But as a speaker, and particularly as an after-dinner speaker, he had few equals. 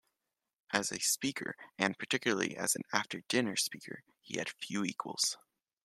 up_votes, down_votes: 0, 2